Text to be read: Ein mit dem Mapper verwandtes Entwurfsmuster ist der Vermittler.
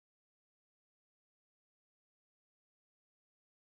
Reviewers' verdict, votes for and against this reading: rejected, 0, 2